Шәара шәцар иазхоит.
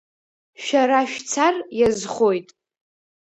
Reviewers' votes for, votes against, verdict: 2, 0, accepted